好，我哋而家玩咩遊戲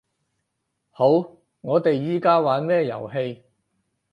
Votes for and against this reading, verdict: 2, 4, rejected